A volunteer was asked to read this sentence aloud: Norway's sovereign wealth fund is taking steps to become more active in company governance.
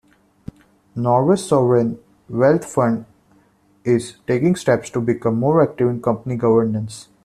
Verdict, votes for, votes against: accepted, 2, 0